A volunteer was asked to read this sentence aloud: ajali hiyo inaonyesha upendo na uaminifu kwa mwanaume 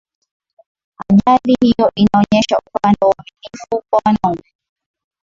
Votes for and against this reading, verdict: 3, 1, accepted